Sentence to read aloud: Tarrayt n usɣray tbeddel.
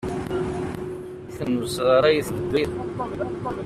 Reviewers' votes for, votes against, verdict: 0, 2, rejected